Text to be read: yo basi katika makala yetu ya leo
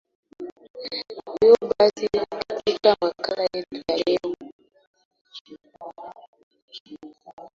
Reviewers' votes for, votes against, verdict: 0, 2, rejected